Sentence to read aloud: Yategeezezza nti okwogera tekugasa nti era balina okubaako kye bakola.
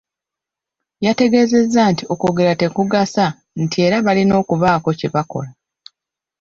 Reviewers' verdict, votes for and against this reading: rejected, 1, 2